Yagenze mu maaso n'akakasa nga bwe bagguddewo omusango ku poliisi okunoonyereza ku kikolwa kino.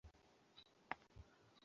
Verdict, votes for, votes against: rejected, 0, 2